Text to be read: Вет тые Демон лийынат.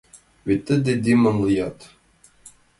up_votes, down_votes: 1, 3